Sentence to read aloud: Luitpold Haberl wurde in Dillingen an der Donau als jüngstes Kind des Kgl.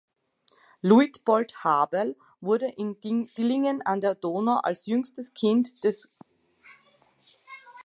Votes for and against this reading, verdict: 0, 2, rejected